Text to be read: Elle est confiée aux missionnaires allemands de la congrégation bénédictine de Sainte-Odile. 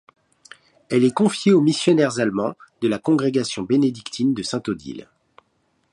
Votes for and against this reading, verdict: 2, 0, accepted